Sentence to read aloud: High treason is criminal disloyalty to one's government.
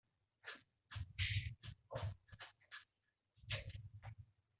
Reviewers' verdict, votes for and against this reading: rejected, 0, 2